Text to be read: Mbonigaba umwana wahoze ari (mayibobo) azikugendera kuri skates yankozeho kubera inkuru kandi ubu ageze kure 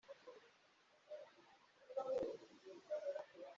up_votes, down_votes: 1, 2